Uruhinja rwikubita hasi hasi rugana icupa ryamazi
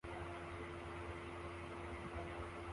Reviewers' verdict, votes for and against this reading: rejected, 0, 2